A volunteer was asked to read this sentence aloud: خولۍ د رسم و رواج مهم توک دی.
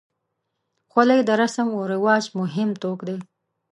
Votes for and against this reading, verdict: 2, 0, accepted